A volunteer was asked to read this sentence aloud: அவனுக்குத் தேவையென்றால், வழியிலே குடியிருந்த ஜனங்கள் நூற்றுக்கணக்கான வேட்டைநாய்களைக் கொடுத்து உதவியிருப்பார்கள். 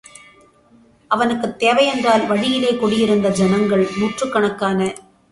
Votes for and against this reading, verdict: 0, 2, rejected